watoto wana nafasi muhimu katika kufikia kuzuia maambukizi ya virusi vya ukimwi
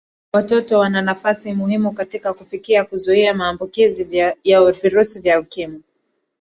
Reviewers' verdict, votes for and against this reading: accepted, 2, 1